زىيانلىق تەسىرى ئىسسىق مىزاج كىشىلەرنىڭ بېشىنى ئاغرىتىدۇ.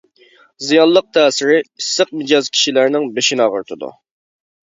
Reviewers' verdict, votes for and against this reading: rejected, 1, 2